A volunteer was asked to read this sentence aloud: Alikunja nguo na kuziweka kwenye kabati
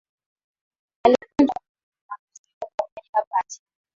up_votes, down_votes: 0, 2